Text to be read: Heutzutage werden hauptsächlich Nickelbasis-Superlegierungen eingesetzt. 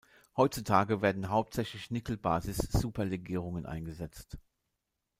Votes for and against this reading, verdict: 1, 2, rejected